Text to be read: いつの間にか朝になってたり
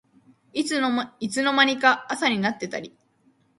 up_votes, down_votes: 0, 2